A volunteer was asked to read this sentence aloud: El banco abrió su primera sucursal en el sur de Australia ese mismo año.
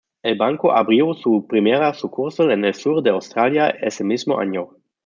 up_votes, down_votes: 2, 0